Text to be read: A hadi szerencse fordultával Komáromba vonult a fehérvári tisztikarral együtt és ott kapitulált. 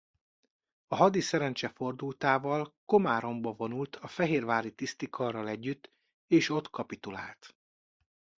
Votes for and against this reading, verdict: 2, 0, accepted